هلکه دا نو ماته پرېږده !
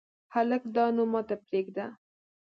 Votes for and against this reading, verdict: 1, 2, rejected